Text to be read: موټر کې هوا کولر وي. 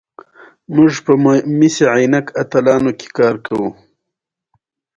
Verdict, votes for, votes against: accepted, 2, 0